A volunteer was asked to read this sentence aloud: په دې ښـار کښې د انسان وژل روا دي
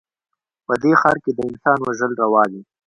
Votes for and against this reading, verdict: 0, 2, rejected